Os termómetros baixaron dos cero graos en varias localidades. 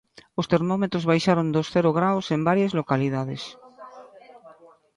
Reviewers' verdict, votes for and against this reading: accepted, 2, 0